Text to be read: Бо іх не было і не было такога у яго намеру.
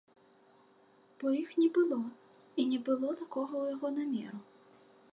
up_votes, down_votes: 2, 1